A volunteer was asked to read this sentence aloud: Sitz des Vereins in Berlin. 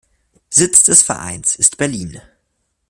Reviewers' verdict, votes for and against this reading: rejected, 0, 2